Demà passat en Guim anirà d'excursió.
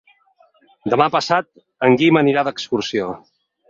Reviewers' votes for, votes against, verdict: 6, 0, accepted